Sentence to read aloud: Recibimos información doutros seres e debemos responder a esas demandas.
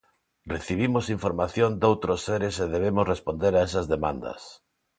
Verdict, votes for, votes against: accepted, 2, 0